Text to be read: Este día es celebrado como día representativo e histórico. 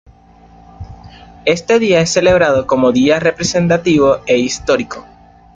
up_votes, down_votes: 2, 0